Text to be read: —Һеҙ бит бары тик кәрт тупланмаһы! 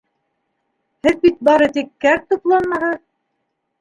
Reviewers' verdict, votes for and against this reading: rejected, 1, 2